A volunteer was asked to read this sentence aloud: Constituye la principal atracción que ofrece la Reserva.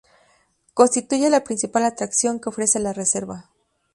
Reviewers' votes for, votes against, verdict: 2, 0, accepted